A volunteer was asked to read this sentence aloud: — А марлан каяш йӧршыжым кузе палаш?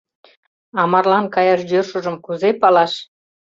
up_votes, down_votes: 2, 0